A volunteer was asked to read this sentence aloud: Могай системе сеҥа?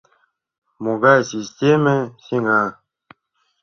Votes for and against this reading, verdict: 2, 0, accepted